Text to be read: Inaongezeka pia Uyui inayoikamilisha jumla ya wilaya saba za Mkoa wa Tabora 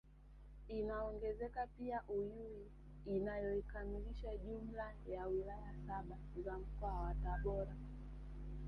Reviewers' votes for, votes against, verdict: 2, 3, rejected